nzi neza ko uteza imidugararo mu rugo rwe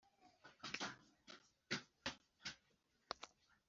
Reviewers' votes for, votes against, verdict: 0, 2, rejected